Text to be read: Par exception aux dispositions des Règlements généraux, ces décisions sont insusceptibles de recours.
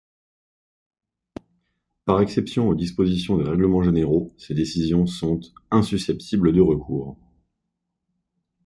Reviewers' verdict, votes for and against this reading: accepted, 2, 1